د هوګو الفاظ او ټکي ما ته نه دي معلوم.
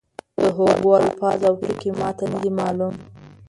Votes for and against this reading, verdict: 1, 2, rejected